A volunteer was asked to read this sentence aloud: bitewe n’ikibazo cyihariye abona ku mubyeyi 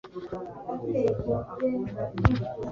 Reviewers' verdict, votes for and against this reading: rejected, 0, 2